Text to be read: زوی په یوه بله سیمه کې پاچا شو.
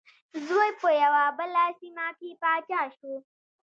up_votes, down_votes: 2, 0